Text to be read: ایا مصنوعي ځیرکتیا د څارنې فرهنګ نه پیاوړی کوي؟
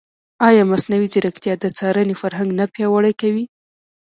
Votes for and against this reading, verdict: 2, 0, accepted